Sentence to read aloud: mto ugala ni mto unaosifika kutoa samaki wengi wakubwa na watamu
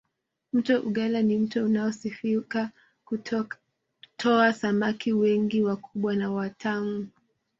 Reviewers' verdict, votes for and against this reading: rejected, 0, 2